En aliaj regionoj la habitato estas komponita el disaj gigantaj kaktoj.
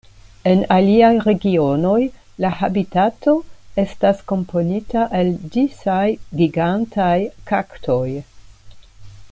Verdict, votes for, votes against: accepted, 2, 0